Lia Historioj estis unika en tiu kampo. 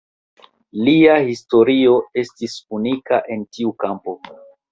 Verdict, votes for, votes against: rejected, 1, 2